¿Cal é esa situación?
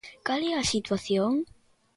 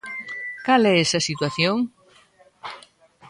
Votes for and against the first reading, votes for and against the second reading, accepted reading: 2, 3, 2, 0, second